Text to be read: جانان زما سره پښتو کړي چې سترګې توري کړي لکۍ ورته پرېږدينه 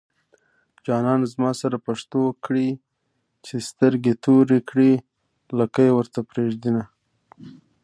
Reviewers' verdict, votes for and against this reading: accepted, 2, 0